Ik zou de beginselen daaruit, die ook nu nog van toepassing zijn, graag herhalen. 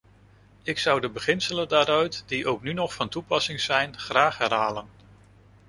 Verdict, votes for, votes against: accepted, 2, 0